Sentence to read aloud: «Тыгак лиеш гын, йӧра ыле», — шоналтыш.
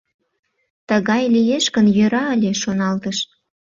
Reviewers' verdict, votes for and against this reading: rejected, 0, 2